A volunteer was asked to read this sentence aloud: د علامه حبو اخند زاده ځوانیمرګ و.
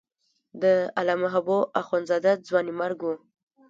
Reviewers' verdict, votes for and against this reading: accepted, 2, 0